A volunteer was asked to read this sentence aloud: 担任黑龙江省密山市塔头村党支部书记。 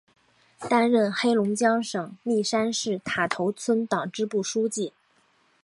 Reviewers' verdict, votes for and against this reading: accepted, 2, 0